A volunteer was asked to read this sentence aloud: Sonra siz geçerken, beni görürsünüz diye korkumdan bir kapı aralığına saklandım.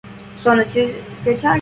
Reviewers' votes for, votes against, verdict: 0, 2, rejected